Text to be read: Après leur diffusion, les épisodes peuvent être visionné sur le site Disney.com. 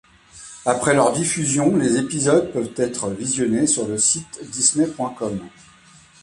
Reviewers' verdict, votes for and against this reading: accepted, 2, 1